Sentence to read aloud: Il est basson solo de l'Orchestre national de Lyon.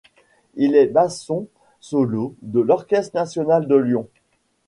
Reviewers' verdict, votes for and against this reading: accepted, 2, 0